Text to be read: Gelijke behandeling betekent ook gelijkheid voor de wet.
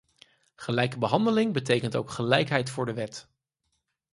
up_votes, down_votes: 4, 0